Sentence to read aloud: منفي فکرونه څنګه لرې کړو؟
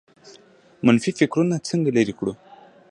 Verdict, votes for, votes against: accepted, 2, 0